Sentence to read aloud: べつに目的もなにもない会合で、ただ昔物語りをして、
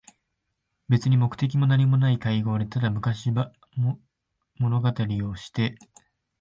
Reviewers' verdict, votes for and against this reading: rejected, 1, 2